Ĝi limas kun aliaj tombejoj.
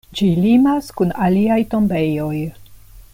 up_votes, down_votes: 2, 0